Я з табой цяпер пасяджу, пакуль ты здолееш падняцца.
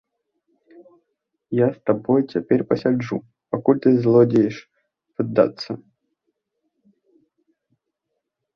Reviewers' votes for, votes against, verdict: 0, 2, rejected